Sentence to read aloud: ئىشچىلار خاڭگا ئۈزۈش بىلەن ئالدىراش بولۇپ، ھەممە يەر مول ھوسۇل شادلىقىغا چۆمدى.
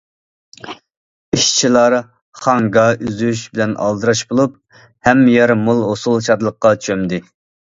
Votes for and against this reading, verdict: 0, 2, rejected